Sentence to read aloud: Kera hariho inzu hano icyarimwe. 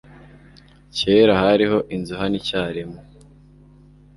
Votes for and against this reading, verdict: 2, 0, accepted